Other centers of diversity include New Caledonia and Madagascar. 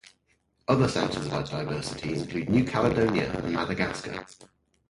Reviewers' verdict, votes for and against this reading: rejected, 0, 6